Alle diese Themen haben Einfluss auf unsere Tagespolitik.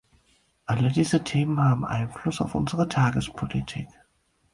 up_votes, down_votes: 4, 0